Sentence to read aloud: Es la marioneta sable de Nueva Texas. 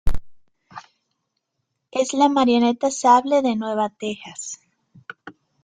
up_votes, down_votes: 2, 0